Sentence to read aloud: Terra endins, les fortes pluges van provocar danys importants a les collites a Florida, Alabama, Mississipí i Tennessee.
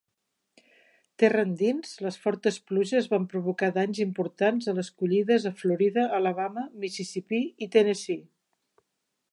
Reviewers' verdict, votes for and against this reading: rejected, 1, 2